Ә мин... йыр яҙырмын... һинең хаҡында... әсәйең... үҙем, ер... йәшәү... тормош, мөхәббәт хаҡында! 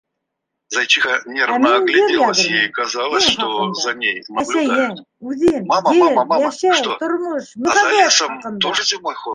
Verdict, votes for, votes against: rejected, 1, 2